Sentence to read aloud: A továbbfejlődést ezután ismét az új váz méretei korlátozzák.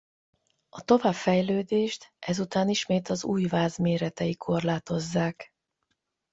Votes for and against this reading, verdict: 4, 4, rejected